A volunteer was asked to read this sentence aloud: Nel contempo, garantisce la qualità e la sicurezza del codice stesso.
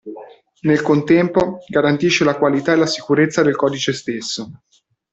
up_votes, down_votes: 2, 1